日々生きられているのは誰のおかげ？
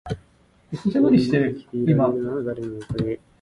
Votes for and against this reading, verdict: 0, 2, rejected